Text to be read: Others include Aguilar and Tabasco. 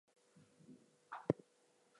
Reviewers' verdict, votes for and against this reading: rejected, 0, 2